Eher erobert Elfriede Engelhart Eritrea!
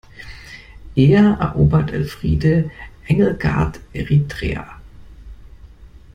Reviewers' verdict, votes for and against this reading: rejected, 0, 2